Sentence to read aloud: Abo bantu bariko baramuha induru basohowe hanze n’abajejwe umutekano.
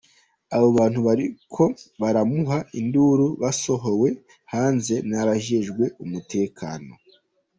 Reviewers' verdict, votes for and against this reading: accepted, 2, 0